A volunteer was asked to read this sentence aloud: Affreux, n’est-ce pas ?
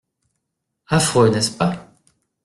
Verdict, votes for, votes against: accepted, 2, 0